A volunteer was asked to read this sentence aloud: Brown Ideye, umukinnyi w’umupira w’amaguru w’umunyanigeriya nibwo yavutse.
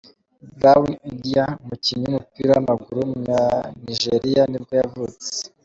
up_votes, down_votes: 2, 0